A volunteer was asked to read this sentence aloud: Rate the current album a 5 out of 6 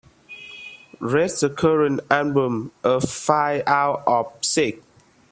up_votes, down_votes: 0, 2